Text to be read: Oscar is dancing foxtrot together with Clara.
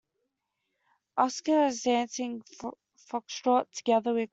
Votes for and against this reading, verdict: 0, 2, rejected